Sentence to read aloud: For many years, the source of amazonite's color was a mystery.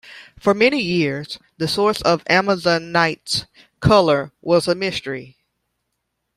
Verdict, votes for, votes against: accepted, 2, 0